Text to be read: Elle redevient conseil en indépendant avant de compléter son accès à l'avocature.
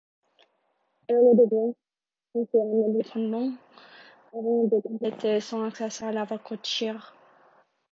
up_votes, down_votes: 0, 2